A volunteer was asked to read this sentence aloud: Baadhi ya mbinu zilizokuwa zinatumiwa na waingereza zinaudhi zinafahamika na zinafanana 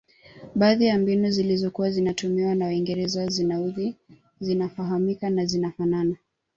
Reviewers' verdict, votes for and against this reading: accepted, 2, 0